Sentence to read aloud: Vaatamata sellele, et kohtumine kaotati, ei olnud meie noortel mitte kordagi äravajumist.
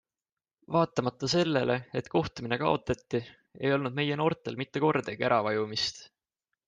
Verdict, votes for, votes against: accepted, 2, 0